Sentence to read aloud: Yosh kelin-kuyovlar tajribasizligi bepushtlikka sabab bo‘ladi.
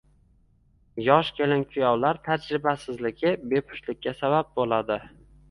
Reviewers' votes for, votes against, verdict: 2, 0, accepted